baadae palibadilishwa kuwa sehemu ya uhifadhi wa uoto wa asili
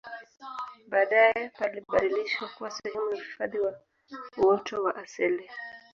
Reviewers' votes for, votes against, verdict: 2, 0, accepted